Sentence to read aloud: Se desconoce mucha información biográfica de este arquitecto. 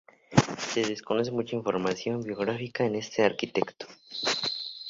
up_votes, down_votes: 2, 2